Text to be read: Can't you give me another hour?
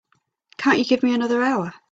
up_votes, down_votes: 3, 0